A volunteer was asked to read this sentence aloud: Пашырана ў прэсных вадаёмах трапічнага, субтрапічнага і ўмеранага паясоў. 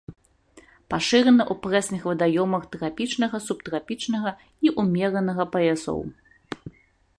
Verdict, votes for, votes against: accepted, 2, 0